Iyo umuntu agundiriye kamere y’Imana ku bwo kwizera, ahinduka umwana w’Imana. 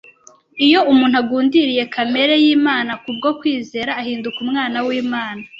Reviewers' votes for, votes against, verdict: 2, 0, accepted